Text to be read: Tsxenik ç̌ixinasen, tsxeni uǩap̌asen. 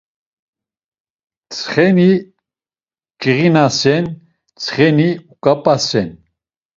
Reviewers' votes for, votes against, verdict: 1, 2, rejected